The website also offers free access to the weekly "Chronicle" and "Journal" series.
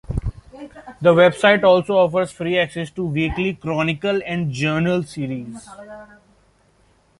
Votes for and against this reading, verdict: 2, 0, accepted